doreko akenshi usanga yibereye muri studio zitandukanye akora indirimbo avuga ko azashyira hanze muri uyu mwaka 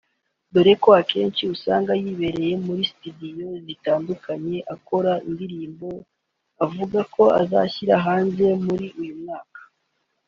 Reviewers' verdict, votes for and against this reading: accepted, 3, 0